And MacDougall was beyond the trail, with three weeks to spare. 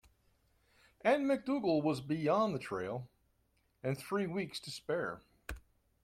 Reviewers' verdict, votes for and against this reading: rejected, 1, 2